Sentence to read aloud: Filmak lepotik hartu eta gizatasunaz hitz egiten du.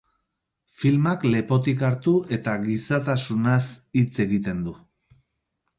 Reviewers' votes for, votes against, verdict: 6, 0, accepted